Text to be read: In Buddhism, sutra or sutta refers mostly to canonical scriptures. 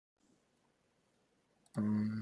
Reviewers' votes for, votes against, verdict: 0, 2, rejected